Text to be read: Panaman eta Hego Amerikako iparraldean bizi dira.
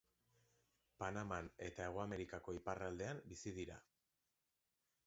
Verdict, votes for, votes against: accepted, 2, 1